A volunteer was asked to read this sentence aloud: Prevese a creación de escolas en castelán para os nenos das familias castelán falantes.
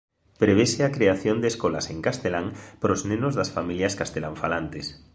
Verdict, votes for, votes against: accepted, 3, 0